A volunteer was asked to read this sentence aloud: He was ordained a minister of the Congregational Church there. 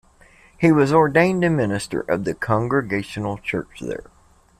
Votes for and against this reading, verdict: 2, 0, accepted